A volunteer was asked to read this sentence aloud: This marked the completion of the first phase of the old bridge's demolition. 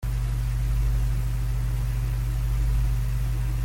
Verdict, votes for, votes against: rejected, 0, 2